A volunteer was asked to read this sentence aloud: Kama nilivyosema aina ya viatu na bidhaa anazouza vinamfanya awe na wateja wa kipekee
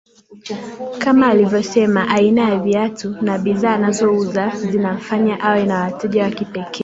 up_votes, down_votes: 0, 2